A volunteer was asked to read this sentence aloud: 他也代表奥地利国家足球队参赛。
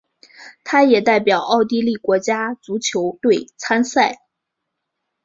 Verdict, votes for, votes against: accepted, 3, 0